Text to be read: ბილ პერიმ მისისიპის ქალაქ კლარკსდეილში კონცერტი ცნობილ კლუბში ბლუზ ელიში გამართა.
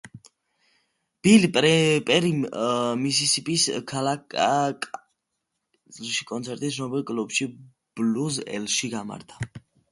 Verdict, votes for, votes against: rejected, 0, 2